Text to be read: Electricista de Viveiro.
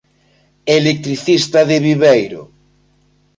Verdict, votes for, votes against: accepted, 2, 0